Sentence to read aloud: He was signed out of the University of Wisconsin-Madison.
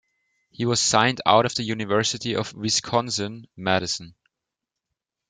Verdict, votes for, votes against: accepted, 2, 0